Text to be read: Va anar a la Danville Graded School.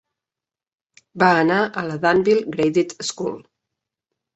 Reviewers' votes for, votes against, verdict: 3, 0, accepted